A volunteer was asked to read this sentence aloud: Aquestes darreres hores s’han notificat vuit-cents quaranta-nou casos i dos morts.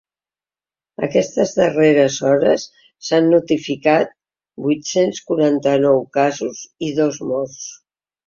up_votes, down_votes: 4, 0